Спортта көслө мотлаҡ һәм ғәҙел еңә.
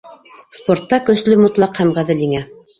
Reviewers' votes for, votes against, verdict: 0, 2, rejected